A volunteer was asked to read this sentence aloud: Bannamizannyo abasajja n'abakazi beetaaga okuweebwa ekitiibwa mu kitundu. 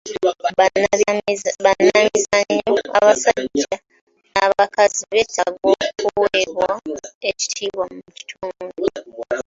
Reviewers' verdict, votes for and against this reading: accepted, 2, 1